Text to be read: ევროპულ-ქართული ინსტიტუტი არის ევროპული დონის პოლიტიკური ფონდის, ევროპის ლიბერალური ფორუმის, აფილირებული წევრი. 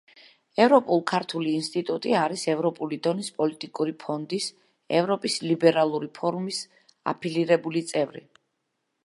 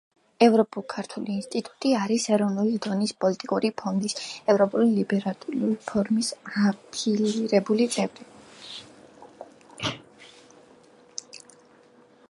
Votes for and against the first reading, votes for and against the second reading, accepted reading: 2, 0, 0, 2, first